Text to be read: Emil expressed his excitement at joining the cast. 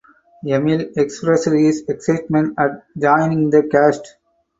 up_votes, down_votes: 0, 2